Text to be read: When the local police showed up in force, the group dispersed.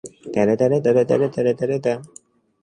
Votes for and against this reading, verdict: 0, 3, rejected